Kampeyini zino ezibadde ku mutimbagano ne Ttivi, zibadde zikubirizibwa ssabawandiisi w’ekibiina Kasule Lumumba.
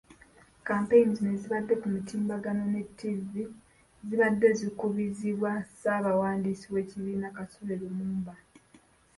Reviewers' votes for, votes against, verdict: 2, 1, accepted